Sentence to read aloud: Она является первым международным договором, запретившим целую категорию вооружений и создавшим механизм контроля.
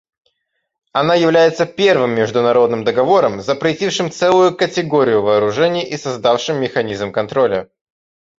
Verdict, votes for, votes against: accepted, 2, 0